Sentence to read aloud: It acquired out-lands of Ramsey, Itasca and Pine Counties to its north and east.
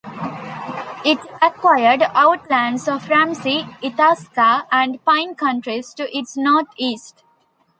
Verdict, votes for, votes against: rejected, 0, 2